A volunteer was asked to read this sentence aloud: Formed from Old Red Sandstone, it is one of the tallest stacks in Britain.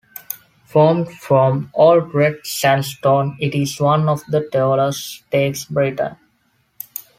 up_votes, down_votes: 1, 2